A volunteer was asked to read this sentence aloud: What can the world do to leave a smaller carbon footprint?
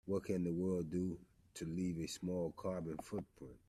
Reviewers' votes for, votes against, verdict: 0, 2, rejected